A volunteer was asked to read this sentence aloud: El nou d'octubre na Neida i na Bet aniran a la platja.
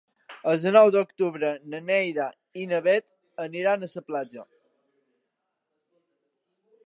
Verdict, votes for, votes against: rejected, 0, 2